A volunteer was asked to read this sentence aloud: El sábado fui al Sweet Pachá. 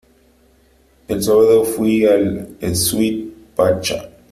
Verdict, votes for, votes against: accepted, 2, 1